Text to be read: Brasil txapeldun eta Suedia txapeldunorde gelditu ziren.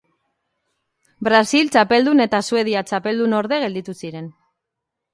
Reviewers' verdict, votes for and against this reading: accepted, 2, 0